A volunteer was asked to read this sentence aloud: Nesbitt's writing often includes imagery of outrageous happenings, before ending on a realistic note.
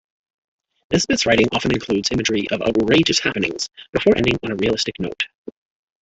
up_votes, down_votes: 1, 2